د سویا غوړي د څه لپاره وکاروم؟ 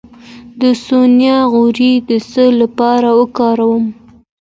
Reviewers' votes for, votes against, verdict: 2, 0, accepted